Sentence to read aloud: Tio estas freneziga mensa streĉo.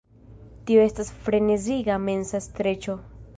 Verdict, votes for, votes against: rejected, 1, 2